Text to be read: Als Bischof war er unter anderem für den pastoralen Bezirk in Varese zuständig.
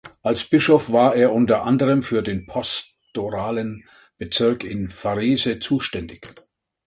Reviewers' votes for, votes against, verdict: 1, 2, rejected